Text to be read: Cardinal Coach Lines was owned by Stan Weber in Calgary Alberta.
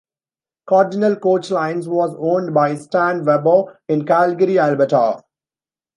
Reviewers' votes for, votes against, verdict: 2, 1, accepted